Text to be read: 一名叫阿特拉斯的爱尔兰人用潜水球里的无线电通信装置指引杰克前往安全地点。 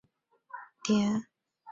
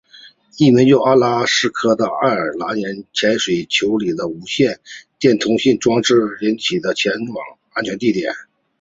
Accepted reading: second